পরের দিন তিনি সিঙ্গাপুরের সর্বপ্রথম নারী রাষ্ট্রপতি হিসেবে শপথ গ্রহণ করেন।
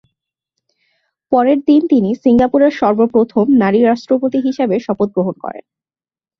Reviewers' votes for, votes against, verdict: 2, 0, accepted